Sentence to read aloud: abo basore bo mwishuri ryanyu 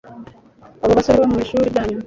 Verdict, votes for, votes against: accepted, 2, 1